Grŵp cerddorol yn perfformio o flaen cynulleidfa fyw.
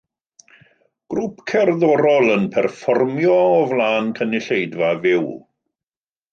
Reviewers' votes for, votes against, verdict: 2, 0, accepted